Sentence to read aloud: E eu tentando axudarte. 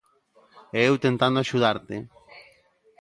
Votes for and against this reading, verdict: 2, 0, accepted